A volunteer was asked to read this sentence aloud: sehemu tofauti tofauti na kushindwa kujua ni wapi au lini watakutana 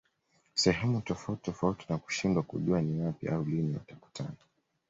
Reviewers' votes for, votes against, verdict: 2, 0, accepted